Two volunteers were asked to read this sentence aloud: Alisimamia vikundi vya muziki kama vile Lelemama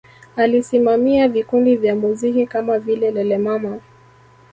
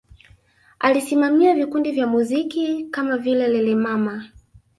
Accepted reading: first